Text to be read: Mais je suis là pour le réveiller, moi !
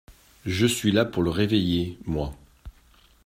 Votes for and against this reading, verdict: 0, 2, rejected